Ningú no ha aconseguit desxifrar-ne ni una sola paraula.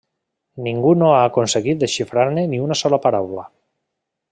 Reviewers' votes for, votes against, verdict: 3, 0, accepted